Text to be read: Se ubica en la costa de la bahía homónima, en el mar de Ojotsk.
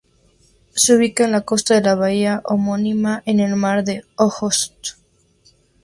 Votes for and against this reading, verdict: 2, 0, accepted